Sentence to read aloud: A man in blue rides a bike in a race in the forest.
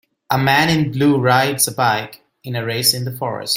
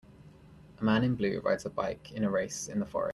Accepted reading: first